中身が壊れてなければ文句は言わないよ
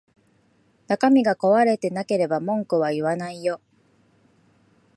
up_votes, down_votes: 2, 0